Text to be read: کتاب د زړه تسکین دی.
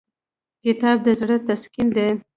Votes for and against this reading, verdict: 2, 1, accepted